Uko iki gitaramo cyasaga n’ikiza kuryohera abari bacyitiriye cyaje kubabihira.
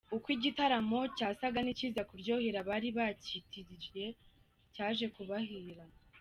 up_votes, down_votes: 3, 2